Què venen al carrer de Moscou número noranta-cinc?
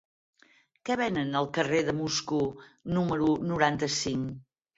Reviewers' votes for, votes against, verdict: 6, 0, accepted